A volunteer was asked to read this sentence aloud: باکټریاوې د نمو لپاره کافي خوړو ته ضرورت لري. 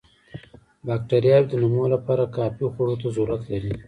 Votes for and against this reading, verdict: 2, 0, accepted